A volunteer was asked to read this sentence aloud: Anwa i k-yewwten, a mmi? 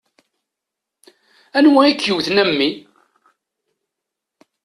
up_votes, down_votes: 2, 0